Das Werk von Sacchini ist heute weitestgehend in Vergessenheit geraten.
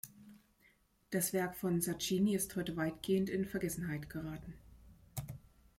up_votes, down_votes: 1, 3